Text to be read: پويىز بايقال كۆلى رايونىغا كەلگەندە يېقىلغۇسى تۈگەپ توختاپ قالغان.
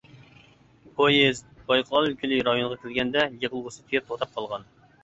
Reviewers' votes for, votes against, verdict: 0, 2, rejected